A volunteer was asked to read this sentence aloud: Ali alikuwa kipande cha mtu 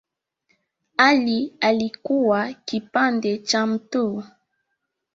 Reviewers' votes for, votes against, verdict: 2, 1, accepted